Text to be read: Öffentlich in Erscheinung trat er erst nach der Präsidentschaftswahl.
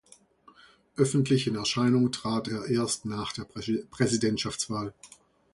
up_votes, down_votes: 0, 2